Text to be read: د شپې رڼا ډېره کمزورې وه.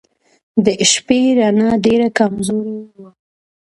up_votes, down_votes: 0, 2